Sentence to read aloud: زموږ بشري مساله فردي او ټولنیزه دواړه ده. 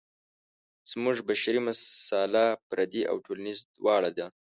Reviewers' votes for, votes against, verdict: 1, 2, rejected